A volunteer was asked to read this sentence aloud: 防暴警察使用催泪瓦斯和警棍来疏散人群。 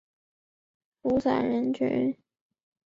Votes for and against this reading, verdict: 3, 5, rejected